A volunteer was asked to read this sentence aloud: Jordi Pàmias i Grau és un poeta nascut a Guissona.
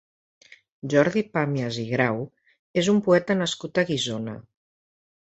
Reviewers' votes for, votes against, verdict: 2, 0, accepted